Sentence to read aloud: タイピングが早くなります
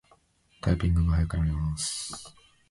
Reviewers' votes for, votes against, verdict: 0, 2, rejected